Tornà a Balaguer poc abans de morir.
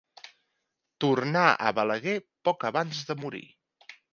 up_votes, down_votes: 2, 0